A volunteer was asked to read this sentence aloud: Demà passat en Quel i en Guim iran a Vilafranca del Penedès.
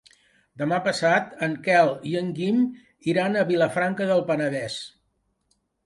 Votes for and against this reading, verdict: 2, 0, accepted